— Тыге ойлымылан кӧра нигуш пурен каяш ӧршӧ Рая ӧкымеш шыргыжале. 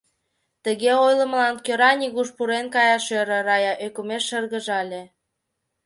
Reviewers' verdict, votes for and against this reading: rejected, 1, 2